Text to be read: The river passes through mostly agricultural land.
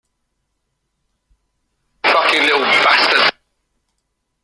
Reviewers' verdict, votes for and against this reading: rejected, 0, 2